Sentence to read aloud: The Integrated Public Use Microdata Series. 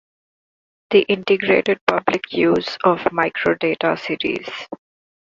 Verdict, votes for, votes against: rejected, 1, 2